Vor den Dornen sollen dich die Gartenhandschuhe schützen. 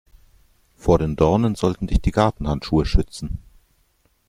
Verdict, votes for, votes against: rejected, 1, 2